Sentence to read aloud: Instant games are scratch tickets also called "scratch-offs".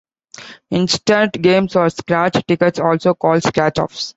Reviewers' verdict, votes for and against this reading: accepted, 2, 1